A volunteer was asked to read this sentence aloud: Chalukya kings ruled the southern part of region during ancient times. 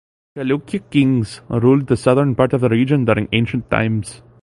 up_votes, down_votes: 3, 1